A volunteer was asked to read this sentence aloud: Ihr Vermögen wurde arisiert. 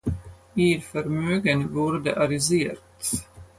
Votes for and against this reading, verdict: 4, 0, accepted